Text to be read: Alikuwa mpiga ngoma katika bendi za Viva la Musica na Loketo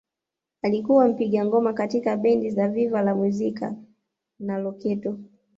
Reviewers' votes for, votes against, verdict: 1, 2, rejected